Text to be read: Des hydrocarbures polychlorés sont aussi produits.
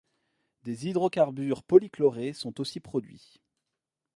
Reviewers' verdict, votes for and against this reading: accepted, 2, 0